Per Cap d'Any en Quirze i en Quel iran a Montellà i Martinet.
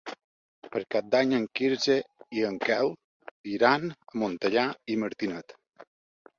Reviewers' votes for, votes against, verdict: 3, 1, accepted